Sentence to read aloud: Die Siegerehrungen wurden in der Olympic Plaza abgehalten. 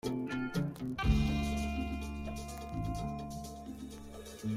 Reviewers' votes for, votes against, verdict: 0, 2, rejected